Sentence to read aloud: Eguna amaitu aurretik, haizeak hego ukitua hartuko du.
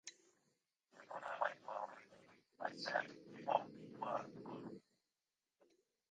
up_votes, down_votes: 0, 2